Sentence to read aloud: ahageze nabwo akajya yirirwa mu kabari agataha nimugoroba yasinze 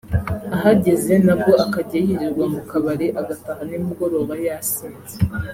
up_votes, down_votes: 3, 0